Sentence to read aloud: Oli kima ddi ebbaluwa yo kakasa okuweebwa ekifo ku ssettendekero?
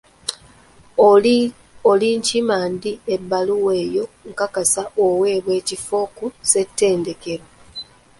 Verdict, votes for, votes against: rejected, 0, 2